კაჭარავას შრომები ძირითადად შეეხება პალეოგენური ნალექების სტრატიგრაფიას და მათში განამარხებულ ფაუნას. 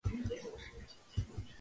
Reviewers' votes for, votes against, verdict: 0, 3, rejected